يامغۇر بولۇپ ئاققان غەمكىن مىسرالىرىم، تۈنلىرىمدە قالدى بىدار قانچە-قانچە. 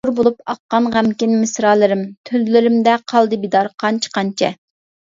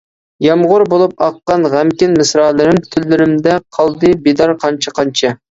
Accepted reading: second